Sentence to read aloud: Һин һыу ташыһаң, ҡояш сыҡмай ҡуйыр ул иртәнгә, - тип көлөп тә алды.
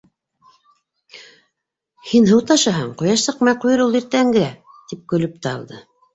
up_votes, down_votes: 2, 0